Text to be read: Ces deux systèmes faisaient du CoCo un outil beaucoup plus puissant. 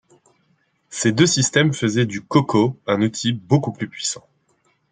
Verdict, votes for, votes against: accepted, 2, 0